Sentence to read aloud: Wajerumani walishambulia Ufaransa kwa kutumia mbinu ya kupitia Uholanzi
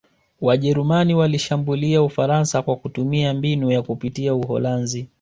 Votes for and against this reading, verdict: 2, 0, accepted